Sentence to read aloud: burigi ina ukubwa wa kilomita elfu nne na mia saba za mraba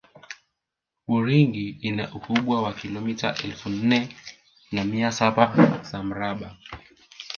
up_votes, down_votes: 0, 2